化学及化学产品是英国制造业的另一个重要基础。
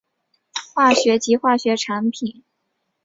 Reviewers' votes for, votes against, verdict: 0, 7, rejected